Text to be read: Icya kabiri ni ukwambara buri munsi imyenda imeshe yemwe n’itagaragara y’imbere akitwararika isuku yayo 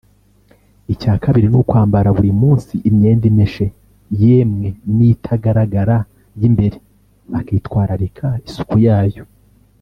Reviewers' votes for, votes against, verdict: 1, 2, rejected